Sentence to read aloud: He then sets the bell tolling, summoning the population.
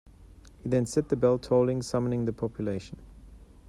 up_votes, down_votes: 0, 2